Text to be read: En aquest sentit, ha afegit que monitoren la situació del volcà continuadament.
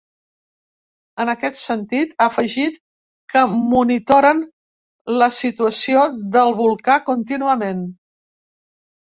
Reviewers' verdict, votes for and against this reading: rejected, 1, 2